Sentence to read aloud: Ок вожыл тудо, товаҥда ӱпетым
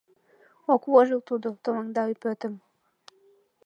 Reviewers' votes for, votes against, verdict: 2, 0, accepted